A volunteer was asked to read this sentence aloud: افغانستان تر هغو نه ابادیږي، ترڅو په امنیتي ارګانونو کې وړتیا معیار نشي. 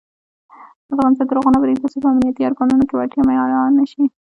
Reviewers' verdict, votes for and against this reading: rejected, 0, 2